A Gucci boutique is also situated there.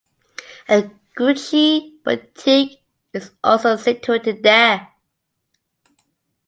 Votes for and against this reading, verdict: 2, 0, accepted